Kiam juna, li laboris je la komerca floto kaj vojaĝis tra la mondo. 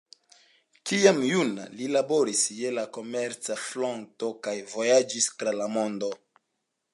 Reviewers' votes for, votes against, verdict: 2, 1, accepted